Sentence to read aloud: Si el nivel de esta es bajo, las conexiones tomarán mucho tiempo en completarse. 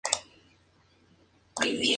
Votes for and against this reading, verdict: 0, 2, rejected